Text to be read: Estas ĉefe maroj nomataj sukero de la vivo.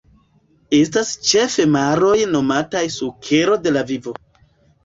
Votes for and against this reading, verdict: 2, 1, accepted